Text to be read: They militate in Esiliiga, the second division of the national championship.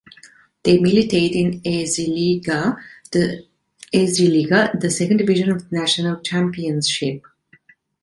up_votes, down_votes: 0, 2